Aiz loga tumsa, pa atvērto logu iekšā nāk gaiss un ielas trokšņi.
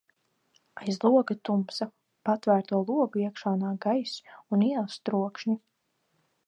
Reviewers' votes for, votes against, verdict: 0, 2, rejected